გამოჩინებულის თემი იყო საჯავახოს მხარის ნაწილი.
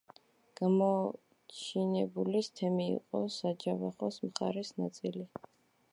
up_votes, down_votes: 1, 2